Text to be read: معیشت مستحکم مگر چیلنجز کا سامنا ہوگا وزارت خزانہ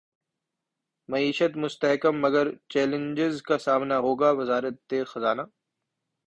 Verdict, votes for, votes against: accepted, 2, 0